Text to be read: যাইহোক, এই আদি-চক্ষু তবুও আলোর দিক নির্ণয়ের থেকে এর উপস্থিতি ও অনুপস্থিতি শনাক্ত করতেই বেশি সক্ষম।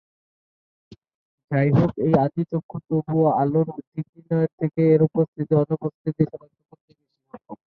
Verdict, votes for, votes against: rejected, 0, 2